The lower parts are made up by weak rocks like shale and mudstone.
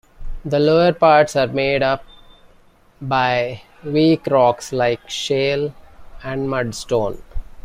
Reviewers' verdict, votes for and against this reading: accepted, 2, 0